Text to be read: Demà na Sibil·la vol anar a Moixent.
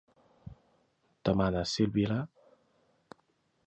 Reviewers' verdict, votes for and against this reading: rejected, 0, 2